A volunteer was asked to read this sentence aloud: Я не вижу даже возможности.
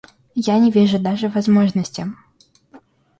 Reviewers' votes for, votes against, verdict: 2, 0, accepted